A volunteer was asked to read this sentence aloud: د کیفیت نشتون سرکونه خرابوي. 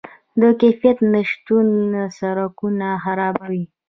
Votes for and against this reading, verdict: 2, 1, accepted